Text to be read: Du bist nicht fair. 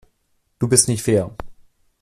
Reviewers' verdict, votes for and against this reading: accepted, 2, 0